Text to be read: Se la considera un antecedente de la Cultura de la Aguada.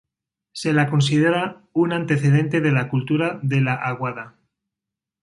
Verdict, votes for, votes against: accepted, 2, 0